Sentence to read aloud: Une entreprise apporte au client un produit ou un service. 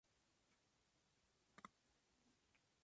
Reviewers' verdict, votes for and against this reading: accepted, 2, 1